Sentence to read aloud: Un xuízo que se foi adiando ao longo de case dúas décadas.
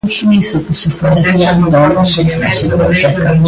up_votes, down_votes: 0, 2